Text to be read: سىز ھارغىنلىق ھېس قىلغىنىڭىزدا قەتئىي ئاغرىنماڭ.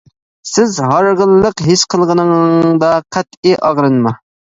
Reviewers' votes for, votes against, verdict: 0, 2, rejected